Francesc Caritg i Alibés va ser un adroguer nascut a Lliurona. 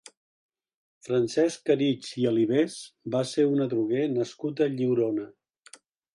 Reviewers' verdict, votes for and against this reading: accepted, 2, 0